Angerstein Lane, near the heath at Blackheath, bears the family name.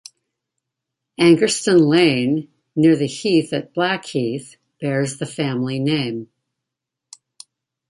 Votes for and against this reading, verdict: 2, 0, accepted